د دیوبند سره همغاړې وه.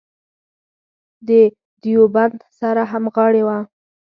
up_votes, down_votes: 4, 0